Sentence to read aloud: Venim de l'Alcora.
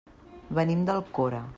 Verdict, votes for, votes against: rejected, 0, 2